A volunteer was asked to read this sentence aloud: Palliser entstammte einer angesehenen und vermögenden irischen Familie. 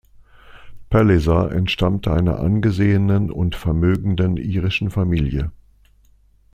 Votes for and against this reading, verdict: 2, 0, accepted